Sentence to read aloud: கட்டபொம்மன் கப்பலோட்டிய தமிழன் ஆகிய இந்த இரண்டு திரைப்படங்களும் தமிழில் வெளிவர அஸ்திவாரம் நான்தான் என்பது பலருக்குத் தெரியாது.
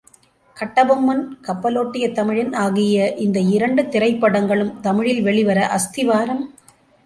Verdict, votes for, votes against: rejected, 0, 2